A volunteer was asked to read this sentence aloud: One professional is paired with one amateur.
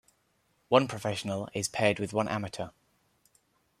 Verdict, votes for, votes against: accepted, 3, 0